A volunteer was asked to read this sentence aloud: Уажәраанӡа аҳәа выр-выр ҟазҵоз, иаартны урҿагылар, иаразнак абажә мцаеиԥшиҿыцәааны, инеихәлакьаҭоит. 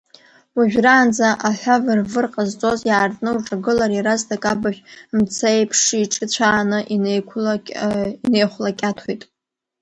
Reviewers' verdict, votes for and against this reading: rejected, 1, 2